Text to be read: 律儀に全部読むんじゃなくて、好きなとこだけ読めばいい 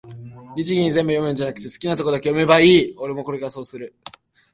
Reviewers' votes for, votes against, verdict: 1, 2, rejected